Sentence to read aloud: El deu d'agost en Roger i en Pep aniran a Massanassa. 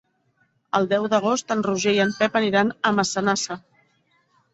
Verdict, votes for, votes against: accepted, 2, 1